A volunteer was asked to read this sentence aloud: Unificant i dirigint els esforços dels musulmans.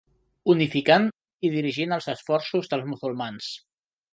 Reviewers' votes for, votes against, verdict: 1, 2, rejected